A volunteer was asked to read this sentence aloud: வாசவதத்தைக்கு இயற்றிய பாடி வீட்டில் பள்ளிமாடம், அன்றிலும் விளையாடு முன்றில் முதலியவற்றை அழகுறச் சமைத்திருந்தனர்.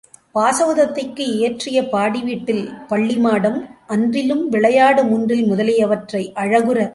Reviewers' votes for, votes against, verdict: 0, 2, rejected